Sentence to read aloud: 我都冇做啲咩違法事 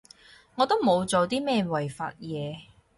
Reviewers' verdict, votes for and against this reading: rejected, 2, 4